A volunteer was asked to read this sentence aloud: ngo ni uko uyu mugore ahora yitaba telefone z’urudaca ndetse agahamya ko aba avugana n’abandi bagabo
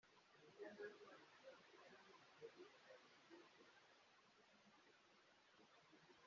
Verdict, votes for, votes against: rejected, 2, 4